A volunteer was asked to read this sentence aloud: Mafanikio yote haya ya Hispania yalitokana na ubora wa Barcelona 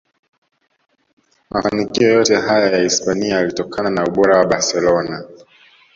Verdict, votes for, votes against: rejected, 0, 2